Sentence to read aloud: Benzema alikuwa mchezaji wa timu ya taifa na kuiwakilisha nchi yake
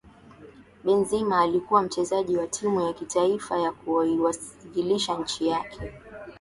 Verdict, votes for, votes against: accepted, 4, 0